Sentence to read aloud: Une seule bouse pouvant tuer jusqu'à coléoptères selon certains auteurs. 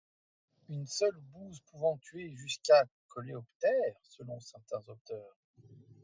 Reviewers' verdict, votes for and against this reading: rejected, 1, 2